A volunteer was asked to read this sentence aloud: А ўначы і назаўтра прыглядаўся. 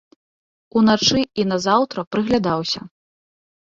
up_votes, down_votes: 1, 2